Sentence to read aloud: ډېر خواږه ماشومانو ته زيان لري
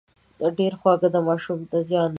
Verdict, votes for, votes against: rejected, 0, 2